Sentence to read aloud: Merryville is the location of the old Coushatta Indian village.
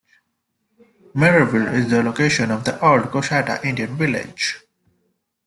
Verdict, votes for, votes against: accepted, 2, 1